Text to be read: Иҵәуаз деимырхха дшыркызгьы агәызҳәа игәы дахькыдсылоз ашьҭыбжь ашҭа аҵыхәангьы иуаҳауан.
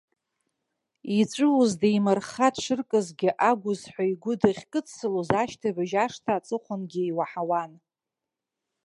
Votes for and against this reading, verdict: 2, 0, accepted